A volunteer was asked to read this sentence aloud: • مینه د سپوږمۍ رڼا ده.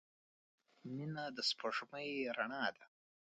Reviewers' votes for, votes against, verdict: 2, 1, accepted